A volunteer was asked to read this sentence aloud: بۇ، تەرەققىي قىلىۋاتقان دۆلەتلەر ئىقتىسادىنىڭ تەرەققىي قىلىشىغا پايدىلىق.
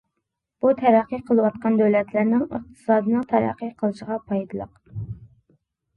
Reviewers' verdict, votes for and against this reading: rejected, 0, 2